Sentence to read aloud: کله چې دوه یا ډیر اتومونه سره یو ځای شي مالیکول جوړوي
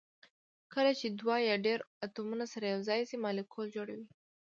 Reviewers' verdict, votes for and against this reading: accepted, 2, 0